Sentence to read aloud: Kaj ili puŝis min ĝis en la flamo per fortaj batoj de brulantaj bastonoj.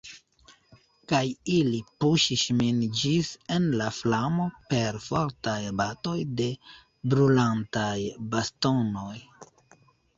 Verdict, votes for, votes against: rejected, 1, 2